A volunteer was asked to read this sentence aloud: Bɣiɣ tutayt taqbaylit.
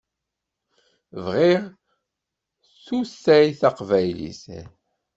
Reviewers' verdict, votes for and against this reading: rejected, 0, 2